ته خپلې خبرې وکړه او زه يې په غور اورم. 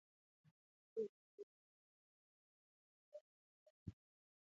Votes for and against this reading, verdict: 0, 2, rejected